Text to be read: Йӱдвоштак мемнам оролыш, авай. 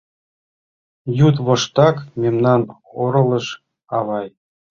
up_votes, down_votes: 2, 0